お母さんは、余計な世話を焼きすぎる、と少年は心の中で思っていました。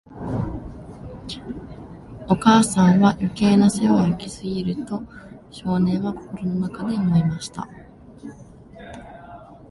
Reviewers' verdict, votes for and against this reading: rejected, 0, 2